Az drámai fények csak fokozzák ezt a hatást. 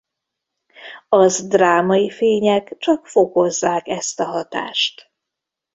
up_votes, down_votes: 1, 2